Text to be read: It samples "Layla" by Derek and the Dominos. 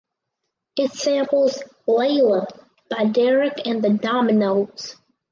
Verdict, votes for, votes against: accepted, 4, 0